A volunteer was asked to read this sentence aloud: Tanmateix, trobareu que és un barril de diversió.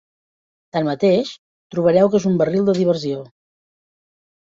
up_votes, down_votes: 0, 2